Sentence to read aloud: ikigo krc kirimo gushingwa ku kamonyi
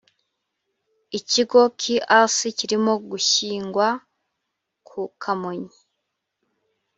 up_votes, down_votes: 1, 2